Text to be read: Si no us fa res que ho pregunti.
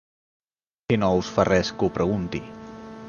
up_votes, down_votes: 0, 2